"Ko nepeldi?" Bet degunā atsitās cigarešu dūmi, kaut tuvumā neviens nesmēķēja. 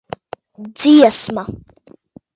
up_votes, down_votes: 0, 2